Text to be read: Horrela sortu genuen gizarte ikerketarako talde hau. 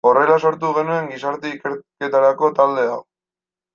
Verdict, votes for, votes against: accepted, 2, 0